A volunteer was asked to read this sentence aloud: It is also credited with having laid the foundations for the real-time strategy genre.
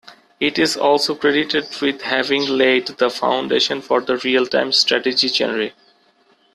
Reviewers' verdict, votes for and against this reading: rejected, 1, 2